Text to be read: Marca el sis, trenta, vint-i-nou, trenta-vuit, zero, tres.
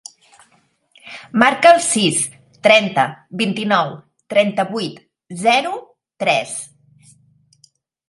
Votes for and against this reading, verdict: 3, 0, accepted